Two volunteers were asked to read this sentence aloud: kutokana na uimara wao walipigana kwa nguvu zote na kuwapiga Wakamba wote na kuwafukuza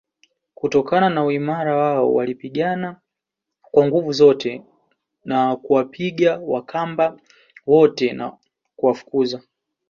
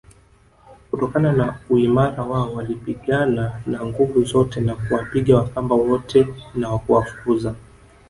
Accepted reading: first